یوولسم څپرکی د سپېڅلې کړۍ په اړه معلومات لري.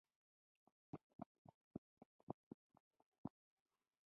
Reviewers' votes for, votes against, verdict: 3, 1, accepted